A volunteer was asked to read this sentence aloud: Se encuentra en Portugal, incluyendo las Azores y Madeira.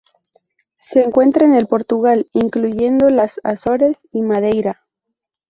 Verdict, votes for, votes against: rejected, 0, 2